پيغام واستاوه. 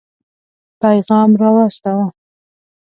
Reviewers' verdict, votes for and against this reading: rejected, 1, 2